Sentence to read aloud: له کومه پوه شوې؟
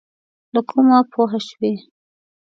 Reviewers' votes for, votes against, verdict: 0, 2, rejected